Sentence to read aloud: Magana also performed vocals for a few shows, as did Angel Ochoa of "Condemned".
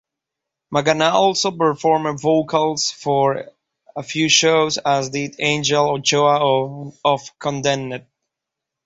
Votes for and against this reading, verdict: 0, 2, rejected